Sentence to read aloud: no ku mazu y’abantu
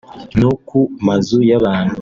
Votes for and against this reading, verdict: 2, 0, accepted